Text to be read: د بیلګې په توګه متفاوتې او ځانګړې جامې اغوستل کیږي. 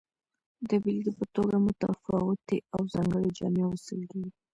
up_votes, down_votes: 1, 2